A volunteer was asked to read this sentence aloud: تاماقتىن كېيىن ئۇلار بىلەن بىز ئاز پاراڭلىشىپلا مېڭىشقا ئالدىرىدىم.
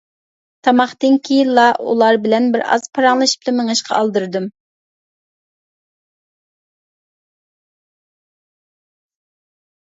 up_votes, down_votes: 0, 2